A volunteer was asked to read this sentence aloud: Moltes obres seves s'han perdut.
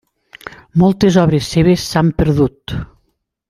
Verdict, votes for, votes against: accepted, 3, 0